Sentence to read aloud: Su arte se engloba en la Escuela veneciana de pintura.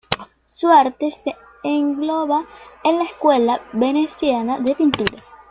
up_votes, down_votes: 2, 0